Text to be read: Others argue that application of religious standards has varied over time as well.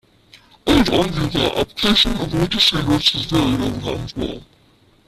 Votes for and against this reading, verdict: 0, 2, rejected